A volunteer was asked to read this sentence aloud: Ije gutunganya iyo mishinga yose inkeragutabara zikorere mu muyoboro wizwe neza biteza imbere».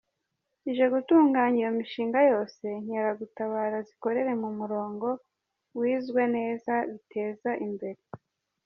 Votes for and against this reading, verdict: 0, 2, rejected